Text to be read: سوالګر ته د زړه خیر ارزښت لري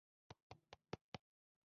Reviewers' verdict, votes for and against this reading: rejected, 0, 2